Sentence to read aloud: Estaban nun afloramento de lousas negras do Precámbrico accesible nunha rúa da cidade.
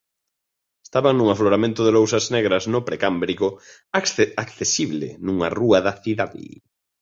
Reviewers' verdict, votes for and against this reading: rejected, 0, 2